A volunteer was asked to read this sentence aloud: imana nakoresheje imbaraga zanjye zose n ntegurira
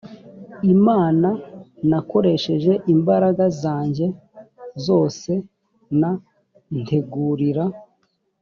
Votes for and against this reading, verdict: 2, 0, accepted